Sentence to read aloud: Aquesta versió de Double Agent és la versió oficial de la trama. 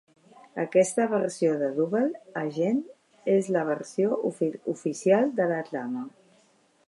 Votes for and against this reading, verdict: 0, 2, rejected